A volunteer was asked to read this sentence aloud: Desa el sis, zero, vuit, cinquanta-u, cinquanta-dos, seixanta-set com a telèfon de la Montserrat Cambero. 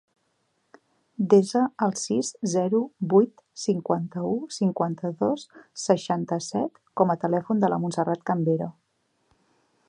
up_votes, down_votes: 4, 0